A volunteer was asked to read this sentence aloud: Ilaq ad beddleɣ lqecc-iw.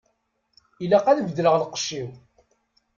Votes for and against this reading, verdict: 2, 0, accepted